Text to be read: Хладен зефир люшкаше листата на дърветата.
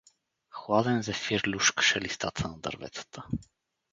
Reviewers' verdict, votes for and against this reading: accepted, 4, 0